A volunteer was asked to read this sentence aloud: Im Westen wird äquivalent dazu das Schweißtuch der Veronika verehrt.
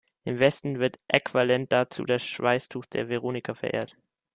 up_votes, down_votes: 0, 2